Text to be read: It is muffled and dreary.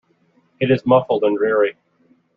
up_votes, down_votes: 2, 0